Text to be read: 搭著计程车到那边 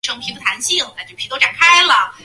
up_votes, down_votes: 0, 2